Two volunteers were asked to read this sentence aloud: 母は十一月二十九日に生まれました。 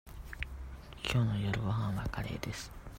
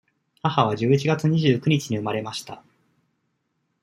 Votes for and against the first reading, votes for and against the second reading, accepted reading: 0, 2, 2, 0, second